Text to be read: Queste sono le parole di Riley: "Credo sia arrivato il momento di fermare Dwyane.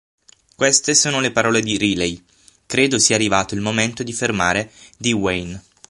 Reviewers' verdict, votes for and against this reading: rejected, 3, 6